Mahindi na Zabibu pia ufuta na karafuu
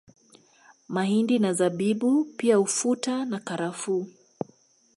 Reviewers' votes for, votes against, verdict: 3, 2, accepted